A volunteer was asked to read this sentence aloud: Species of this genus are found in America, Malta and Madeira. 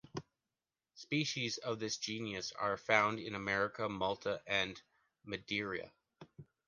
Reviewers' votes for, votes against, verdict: 2, 0, accepted